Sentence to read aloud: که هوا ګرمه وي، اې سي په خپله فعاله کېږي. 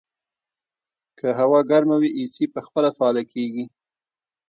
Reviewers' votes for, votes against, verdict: 2, 1, accepted